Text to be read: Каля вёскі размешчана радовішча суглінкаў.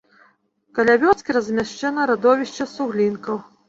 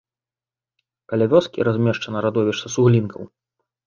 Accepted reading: second